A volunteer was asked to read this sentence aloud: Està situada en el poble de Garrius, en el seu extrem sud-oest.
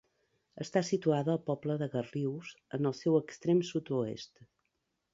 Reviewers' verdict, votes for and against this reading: rejected, 1, 2